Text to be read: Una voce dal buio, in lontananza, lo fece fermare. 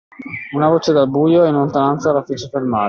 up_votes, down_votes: 2, 1